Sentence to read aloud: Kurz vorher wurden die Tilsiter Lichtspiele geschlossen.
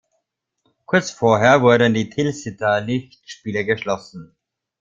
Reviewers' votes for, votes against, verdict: 1, 2, rejected